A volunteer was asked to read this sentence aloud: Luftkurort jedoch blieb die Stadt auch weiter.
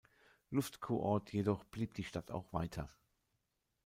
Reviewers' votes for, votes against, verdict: 2, 0, accepted